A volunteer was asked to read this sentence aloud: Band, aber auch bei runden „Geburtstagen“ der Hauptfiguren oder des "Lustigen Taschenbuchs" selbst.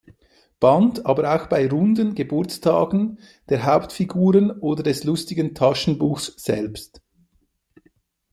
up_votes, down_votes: 2, 0